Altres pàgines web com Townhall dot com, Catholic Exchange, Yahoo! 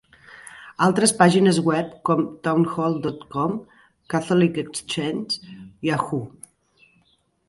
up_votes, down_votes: 2, 0